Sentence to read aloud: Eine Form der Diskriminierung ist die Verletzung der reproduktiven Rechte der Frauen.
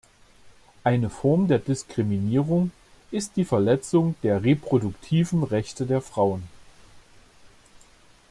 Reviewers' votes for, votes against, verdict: 2, 0, accepted